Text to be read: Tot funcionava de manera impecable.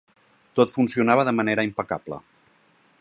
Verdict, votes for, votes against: accepted, 4, 0